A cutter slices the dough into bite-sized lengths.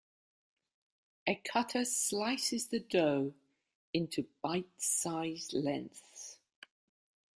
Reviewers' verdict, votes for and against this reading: rejected, 1, 2